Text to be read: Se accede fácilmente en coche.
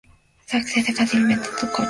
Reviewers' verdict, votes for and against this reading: rejected, 0, 2